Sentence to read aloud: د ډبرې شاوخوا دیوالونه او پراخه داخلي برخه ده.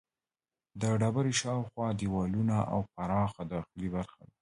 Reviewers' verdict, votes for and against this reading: rejected, 1, 2